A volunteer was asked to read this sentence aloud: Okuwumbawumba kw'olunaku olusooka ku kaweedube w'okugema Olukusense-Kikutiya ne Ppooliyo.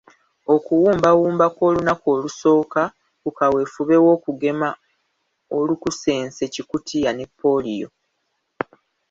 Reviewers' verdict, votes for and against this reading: accepted, 2, 0